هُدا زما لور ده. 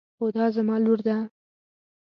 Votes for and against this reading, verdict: 2, 0, accepted